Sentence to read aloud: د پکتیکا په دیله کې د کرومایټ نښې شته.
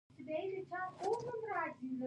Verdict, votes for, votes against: rejected, 1, 2